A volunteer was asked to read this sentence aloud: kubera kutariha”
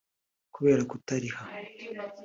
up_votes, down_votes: 2, 0